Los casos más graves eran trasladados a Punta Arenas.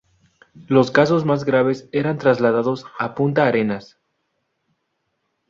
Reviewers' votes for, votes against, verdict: 2, 0, accepted